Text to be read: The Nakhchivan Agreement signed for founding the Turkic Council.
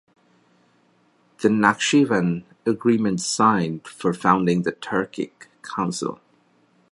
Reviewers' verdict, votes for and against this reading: accepted, 2, 0